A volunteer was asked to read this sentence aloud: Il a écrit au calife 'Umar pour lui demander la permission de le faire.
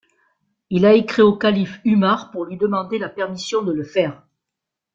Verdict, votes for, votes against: accepted, 2, 0